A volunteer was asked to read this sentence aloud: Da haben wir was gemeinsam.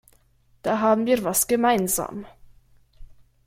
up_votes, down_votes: 1, 2